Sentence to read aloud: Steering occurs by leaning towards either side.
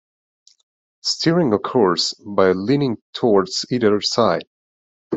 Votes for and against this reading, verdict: 2, 0, accepted